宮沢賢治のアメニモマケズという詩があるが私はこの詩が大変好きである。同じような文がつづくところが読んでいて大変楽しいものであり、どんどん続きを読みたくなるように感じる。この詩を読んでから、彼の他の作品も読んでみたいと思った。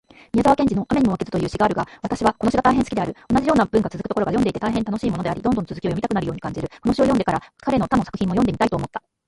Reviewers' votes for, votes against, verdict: 2, 0, accepted